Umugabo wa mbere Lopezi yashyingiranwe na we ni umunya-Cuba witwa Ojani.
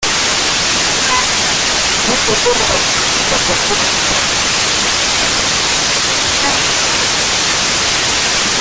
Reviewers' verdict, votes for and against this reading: rejected, 0, 2